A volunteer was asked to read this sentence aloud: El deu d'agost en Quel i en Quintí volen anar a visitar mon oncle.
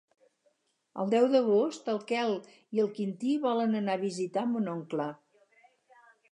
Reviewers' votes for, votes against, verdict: 2, 4, rejected